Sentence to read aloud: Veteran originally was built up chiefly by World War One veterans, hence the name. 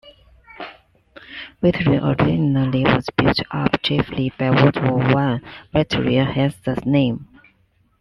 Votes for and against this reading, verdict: 0, 2, rejected